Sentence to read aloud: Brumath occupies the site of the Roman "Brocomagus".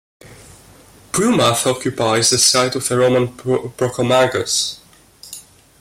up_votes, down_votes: 1, 2